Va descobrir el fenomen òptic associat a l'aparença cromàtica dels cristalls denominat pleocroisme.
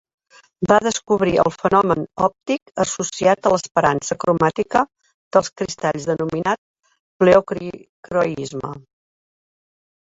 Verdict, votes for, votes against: rejected, 0, 2